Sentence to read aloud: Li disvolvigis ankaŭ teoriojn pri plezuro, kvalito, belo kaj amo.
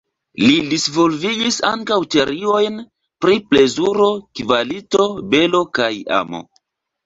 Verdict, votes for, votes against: rejected, 1, 2